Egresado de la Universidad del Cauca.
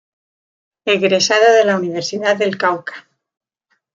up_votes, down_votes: 0, 2